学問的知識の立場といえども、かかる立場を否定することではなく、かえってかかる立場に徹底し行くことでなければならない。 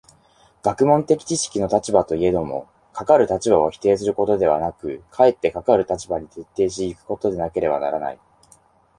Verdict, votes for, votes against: accepted, 2, 0